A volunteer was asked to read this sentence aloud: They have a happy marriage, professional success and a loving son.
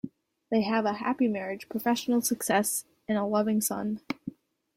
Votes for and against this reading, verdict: 2, 0, accepted